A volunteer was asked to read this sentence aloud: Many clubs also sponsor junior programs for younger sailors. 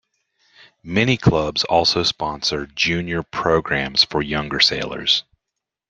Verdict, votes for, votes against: accepted, 2, 0